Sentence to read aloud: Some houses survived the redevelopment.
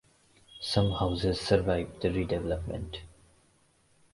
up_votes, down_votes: 0, 2